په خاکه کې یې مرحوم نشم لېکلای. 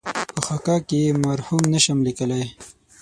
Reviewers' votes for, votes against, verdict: 0, 6, rejected